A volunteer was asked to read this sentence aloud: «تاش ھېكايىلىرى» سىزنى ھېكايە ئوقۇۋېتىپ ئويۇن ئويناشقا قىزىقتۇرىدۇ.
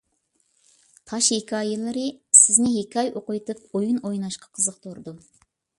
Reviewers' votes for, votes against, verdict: 2, 0, accepted